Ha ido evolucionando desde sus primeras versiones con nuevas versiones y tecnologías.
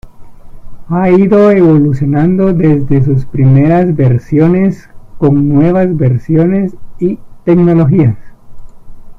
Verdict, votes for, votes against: rejected, 1, 2